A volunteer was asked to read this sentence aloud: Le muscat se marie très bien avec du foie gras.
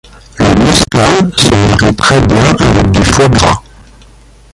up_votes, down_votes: 0, 2